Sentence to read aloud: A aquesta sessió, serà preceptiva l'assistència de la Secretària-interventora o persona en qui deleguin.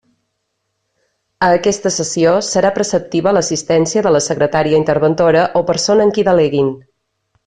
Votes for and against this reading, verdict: 2, 0, accepted